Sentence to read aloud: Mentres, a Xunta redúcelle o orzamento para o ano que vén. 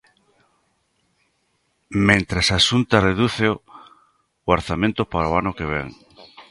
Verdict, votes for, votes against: rejected, 0, 2